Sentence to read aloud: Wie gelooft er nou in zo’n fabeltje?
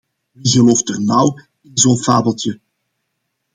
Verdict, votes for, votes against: accepted, 2, 0